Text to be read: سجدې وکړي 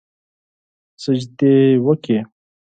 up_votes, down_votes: 2, 4